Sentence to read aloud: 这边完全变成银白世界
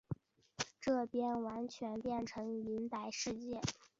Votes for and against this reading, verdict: 2, 1, accepted